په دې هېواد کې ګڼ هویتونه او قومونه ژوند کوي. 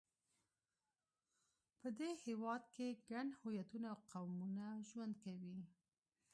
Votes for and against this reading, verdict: 2, 0, accepted